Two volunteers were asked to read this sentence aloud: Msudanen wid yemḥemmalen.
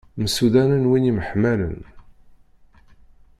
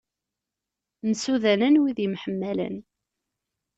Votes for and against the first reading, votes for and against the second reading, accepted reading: 0, 2, 2, 0, second